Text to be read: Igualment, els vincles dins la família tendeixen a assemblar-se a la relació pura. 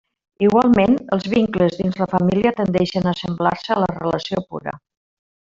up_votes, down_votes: 0, 2